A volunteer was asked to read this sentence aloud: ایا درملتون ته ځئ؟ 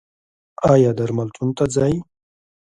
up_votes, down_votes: 2, 1